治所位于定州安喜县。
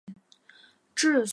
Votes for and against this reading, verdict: 0, 3, rejected